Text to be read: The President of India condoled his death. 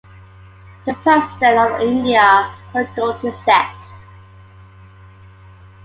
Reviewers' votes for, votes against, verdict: 2, 0, accepted